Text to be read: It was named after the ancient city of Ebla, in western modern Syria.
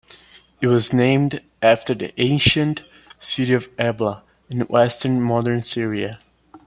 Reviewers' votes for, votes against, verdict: 2, 0, accepted